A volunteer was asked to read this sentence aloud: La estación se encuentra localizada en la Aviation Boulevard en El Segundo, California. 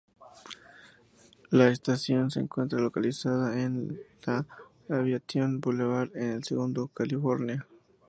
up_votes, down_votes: 2, 0